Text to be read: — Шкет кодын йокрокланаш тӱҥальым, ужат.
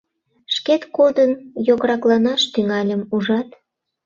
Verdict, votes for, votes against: rejected, 0, 2